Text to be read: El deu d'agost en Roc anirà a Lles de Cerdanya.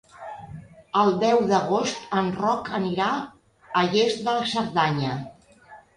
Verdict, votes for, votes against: rejected, 1, 2